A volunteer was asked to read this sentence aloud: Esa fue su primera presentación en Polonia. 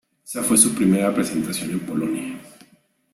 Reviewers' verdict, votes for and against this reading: accepted, 2, 0